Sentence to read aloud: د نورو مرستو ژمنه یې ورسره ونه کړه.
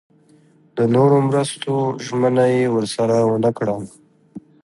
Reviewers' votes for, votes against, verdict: 1, 2, rejected